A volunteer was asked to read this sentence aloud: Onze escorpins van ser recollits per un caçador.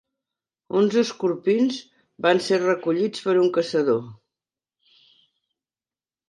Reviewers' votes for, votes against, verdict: 2, 0, accepted